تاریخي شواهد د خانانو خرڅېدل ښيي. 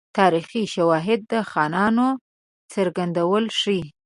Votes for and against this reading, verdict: 1, 2, rejected